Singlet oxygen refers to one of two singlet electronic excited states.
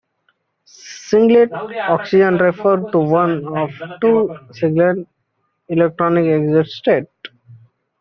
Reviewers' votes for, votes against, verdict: 0, 2, rejected